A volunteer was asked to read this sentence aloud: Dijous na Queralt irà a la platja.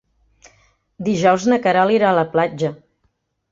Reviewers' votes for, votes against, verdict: 4, 0, accepted